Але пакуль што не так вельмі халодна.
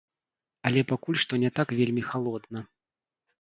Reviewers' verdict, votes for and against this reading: rejected, 1, 2